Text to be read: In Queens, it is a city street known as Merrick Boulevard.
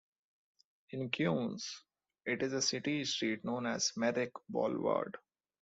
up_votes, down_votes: 0, 2